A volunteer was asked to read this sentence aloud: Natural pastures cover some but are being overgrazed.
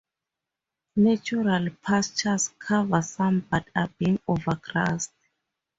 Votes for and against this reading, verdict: 2, 0, accepted